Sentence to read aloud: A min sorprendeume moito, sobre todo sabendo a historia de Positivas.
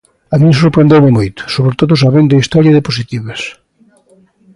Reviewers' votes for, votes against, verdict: 2, 0, accepted